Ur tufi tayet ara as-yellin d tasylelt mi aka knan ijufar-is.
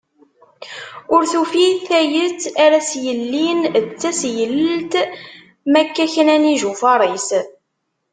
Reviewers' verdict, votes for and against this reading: rejected, 1, 2